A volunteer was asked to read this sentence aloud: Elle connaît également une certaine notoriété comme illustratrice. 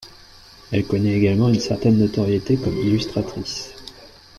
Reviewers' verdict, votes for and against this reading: rejected, 1, 2